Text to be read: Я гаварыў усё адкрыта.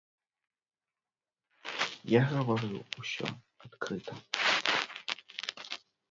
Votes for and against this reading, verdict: 0, 2, rejected